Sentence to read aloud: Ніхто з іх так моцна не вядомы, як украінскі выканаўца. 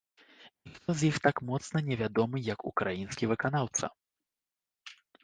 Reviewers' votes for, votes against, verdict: 1, 2, rejected